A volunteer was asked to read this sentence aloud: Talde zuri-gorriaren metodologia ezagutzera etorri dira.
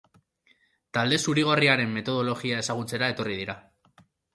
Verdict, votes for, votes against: accepted, 2, 0